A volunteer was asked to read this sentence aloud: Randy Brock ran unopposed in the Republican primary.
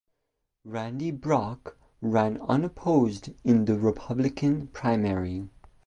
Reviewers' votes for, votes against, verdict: 3, 0, accepted